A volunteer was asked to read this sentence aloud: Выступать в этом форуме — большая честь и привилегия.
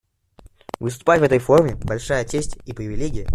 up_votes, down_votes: 0, 2